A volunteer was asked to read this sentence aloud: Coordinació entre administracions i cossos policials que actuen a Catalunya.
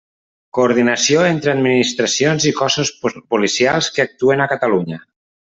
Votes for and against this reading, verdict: 1, 2, rejected